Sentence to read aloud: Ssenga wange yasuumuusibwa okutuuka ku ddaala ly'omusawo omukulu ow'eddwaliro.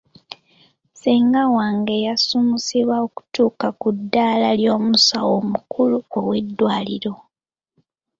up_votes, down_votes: 4, 3